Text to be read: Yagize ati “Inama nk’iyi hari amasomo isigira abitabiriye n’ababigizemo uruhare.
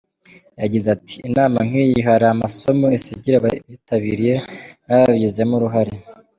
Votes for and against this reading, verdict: 2, 0, accepted